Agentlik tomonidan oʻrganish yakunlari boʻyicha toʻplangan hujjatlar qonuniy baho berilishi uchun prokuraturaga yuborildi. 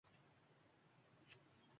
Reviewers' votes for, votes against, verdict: 1, 2, rejected